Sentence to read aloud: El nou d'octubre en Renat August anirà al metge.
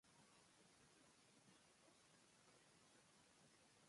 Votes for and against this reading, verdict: 0, 3, rejected